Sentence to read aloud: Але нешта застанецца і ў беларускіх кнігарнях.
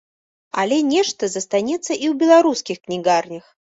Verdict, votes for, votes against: rejected, 1, 2